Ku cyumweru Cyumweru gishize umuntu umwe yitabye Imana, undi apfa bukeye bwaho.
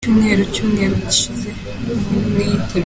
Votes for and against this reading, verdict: 0, 2, rejected